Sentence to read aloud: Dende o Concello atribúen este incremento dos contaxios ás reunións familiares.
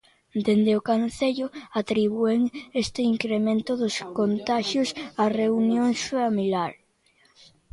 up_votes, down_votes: 0, 2